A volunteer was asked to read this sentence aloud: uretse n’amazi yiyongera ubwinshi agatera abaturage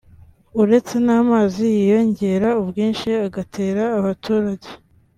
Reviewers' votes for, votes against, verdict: 2, 0, accepted